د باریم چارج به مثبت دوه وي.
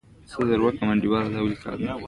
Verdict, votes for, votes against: accepted, 2, 1